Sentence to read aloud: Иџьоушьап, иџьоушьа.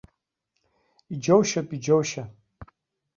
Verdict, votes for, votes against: accepted, 2, 0